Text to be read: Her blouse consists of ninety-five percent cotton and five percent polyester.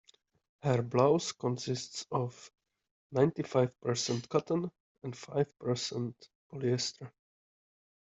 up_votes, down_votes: 2, 0